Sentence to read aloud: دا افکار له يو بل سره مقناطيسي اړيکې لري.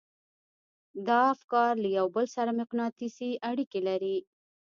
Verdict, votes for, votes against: rejected, 0, 2